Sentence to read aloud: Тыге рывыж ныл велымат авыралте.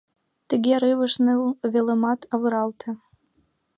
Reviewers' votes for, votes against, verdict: 1, 2, rejected